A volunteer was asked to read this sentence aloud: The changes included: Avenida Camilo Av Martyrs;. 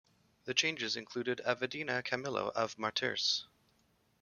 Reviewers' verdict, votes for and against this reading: rejected, 0, 2